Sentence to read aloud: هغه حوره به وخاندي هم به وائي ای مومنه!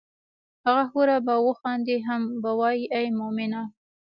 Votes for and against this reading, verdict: 2, 0, accepted